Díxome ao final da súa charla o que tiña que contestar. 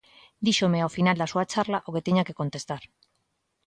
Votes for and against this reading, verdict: 2, 0, accepted